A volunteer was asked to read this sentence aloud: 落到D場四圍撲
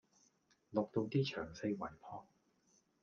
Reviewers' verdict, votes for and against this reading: accepted, 2, 0